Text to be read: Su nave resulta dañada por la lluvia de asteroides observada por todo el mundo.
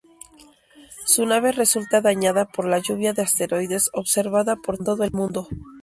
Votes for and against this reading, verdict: 2, 0, accepted